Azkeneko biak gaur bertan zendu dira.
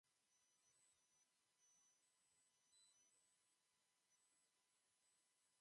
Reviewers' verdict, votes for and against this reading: rejected, 0, 2